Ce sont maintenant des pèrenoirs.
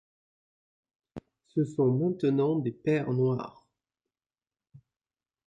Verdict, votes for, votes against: rejected, 1, 2